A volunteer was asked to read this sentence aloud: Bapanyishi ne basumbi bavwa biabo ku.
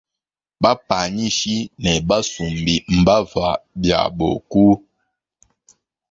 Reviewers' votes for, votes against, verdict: 0, 2, rejected